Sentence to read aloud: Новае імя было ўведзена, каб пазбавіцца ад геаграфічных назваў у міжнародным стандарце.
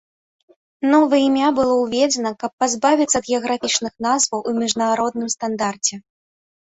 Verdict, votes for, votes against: accepted, 3, 0